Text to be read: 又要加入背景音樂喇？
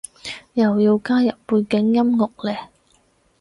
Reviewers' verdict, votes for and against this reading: rejected, 0, 4